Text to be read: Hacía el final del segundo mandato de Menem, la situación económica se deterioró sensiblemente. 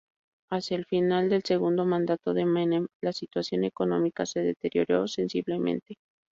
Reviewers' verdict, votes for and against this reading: accepted, 2, 0